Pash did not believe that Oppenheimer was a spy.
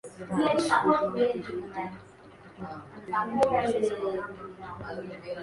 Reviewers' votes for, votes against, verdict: 0, 2, rejected